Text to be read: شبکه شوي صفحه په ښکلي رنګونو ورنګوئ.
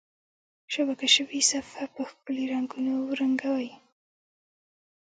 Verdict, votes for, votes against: rejected, 0, 2